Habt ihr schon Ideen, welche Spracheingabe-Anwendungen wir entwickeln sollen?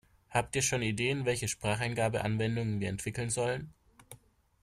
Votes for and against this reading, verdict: 2, 0, accepted